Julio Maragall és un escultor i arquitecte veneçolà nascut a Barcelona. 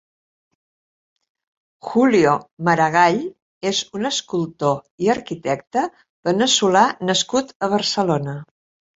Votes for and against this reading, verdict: 3, 0, accepted